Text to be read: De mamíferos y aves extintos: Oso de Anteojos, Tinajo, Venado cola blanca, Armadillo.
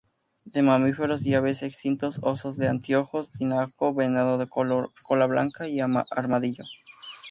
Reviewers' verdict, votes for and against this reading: rejected, 0, 4